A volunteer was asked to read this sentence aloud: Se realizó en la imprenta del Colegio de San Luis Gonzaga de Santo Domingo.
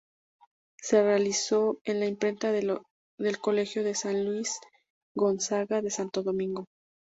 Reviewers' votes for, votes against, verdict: 0, 2, rejected